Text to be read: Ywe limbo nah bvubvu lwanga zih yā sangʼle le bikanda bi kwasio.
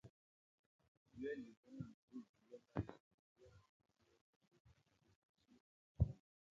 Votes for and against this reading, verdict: 0, 2, rejected